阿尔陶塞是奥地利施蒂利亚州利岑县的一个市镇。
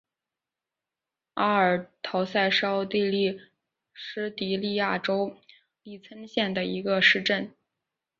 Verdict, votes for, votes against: accepted, 5, 2